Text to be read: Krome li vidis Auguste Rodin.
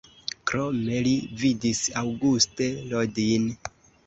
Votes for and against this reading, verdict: 2, 1, accepted